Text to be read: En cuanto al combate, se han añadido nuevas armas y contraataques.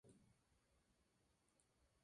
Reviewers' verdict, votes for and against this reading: rejected, 0, 4